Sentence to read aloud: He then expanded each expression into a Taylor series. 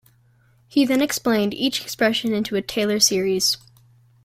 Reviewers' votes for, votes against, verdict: 0, 2, rejected